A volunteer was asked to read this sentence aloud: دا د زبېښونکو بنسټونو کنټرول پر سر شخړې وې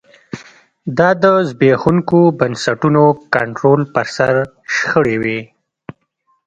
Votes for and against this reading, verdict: 2, 0, accepted